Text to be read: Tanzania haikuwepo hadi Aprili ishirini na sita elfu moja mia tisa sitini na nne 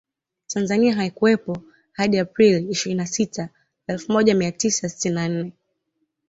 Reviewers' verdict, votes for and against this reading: accepted, 2, 0